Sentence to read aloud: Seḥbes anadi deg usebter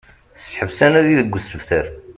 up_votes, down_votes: 2, 0